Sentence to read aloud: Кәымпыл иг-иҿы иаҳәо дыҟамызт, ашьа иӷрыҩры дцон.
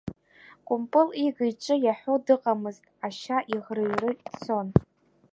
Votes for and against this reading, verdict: 1, 2, rejected